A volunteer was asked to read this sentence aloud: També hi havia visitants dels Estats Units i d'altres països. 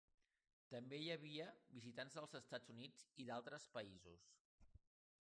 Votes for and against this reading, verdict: 2, 3, rejected